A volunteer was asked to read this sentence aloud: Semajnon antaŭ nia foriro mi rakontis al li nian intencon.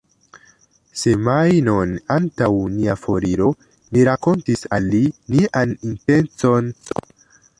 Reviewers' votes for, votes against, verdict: 2, 0, accepted